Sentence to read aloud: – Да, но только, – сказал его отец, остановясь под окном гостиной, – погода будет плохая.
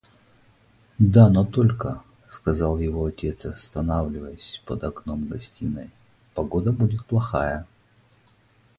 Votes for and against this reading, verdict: 2, 2, rejected